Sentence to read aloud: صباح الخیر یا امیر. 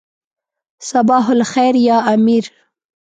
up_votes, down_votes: 0, 2